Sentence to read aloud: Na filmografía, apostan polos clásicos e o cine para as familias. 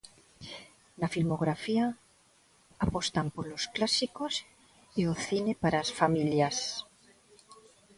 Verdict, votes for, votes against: accepted, 2, 0